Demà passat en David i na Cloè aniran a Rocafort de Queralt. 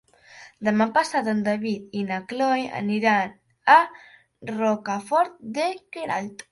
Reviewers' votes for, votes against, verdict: 2, 1, accepted